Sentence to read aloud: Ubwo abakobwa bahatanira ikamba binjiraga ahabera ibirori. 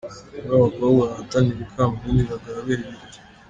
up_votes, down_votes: 0, 2